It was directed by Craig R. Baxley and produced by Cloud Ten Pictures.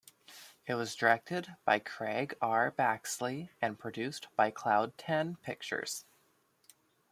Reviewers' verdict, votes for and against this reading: accepted, 2, 0